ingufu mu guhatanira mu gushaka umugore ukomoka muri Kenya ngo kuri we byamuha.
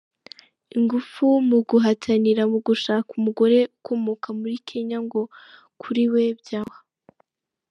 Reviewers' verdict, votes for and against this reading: rejected, 1, 2